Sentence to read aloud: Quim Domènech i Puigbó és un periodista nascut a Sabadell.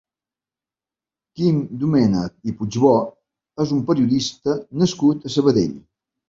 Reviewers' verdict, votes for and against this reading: accepted, 2, 0